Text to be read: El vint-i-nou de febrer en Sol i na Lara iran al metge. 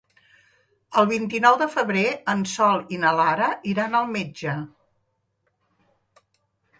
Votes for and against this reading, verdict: 3, 0, accepted